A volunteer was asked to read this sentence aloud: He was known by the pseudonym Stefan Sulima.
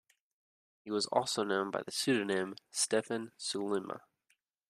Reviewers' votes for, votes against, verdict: 0, 2, rejected